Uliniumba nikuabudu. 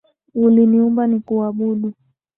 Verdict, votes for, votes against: accepted, 2, 0